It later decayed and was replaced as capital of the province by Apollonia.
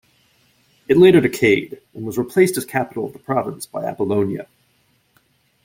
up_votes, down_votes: 2, 0